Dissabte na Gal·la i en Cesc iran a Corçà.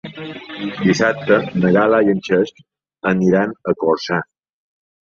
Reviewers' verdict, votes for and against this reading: accepted, 2, 1